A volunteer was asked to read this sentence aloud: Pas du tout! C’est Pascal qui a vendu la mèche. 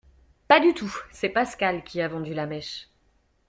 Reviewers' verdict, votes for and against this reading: accepted, 2, 0